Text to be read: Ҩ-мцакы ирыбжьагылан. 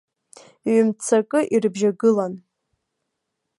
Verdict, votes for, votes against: accepted, 2, 0